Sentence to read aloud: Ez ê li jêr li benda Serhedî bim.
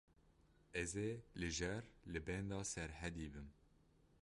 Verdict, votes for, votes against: rejected, 1, 2